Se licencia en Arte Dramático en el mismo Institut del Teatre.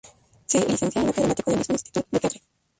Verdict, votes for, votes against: rejected, 0, 2